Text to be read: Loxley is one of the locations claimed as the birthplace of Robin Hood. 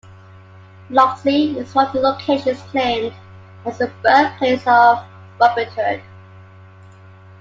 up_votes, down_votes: 1, 2